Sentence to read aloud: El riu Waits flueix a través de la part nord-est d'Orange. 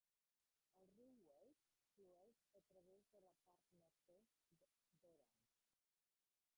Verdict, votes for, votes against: rejected, 0, 2